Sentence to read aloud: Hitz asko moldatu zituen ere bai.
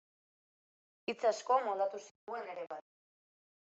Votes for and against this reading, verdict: 2, 1, accepted